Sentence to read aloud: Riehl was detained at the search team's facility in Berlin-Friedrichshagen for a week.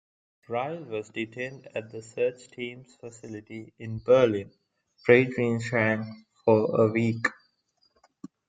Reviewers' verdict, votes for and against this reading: rejected, 0, 2